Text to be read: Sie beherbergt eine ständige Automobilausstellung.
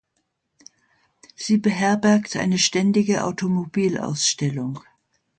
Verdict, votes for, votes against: accepted, 2, 0